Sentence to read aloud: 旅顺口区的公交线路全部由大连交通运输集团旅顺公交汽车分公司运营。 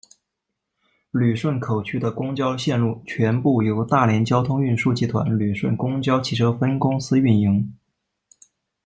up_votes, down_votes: 2, 0